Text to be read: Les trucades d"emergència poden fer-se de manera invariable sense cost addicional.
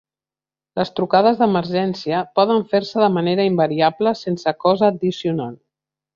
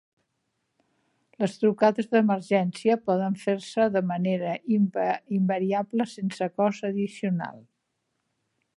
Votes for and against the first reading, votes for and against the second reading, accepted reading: 2, 0, 0, 2, first